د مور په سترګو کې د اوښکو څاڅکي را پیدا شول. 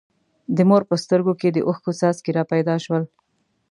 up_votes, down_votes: 2, 0